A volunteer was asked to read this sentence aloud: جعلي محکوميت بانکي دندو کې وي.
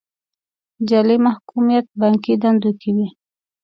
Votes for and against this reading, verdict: 2, 1, accepted